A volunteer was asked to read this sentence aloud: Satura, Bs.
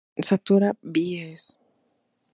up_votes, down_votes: 2, 0